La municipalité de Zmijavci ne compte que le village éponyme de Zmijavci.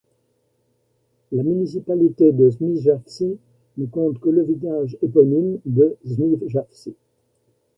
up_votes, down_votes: 1, 2